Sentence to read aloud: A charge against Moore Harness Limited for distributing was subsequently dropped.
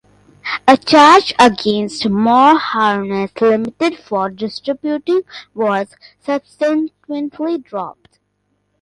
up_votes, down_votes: 0, 2